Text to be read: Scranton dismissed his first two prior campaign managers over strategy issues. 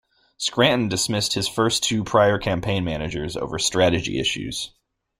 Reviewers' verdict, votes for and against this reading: accepted, 2, 0